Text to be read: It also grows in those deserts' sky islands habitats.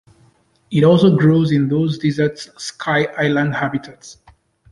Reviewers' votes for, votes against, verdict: 0, 2, rejected